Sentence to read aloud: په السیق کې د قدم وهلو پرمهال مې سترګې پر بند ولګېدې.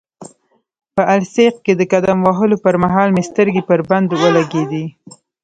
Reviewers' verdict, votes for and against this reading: rejected, 1, 2